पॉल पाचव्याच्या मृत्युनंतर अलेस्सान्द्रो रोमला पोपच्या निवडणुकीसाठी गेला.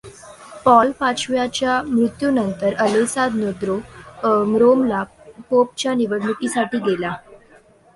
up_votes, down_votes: 2, 1